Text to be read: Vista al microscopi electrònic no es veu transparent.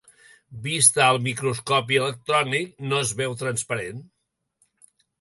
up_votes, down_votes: 3, 0